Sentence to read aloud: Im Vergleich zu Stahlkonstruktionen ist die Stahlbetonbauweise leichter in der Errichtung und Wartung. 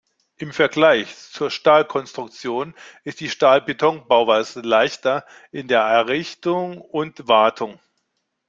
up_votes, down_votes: 1, 2